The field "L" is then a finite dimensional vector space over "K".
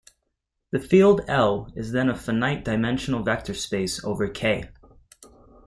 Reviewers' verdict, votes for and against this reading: accepted, 2, 0